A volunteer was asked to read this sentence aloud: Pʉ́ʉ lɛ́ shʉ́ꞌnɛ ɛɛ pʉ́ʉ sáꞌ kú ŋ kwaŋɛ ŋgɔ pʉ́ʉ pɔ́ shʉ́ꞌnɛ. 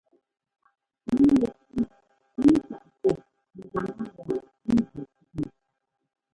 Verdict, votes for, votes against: rejected, 0, 2